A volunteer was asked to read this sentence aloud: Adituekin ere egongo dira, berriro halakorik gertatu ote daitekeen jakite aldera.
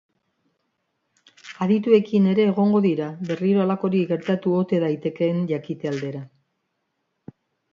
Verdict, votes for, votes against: accepted, 2, 0